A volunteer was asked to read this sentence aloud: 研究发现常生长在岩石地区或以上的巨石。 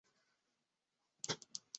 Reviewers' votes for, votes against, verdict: 1, 3, rejected